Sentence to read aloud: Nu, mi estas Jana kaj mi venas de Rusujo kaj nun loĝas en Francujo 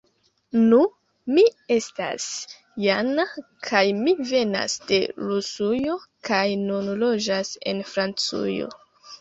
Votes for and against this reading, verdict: 2, 0, accepted